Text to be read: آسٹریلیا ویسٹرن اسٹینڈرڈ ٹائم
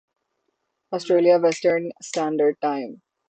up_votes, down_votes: 9, 0